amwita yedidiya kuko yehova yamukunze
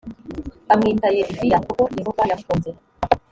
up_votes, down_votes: 1, 2